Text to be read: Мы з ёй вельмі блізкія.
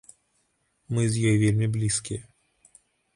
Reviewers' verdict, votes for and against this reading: accepted, 2, 0